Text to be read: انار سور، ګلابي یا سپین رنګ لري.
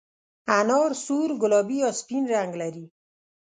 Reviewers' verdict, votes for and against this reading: accepted, 2, 0